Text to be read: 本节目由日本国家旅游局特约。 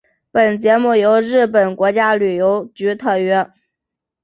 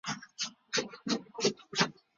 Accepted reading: first